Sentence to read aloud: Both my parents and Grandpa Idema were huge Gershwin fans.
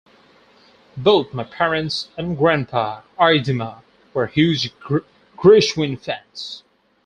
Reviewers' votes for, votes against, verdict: 0, 2, rejected